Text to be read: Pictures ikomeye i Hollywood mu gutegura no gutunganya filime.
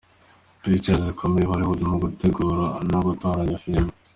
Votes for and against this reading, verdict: 2, 0, accepted